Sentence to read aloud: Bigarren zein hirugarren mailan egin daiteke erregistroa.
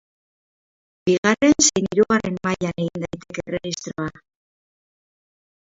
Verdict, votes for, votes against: rejected, 0, 4